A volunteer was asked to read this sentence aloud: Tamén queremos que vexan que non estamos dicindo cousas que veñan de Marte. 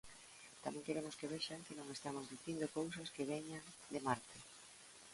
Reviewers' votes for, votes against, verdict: 2, 1, accepted